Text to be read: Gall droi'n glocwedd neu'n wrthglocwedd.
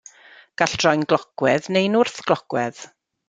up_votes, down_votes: 2, 0